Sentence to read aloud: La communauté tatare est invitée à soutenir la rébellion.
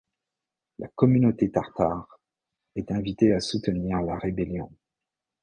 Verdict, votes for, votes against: rejected, 0, 2